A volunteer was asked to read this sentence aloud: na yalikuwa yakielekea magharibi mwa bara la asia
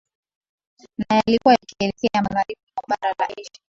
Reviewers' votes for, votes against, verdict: 0, 2, rejected